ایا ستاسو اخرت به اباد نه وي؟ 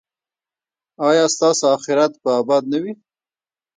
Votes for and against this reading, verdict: 2, 0, accepted